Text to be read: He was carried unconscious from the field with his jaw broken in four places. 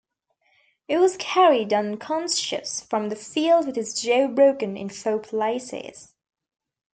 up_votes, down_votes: 0, 2